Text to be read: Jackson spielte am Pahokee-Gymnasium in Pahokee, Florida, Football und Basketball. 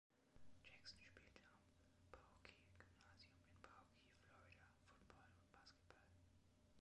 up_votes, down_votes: 0, 2